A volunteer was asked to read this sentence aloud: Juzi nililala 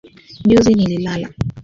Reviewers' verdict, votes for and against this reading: accepted, 2, 1